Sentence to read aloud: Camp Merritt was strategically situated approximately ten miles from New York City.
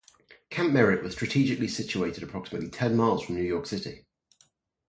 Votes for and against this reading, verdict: 2, 0, accepted